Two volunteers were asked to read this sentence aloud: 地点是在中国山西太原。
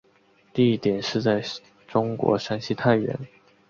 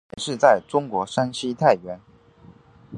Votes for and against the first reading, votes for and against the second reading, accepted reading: 3, 0, 2, 3, first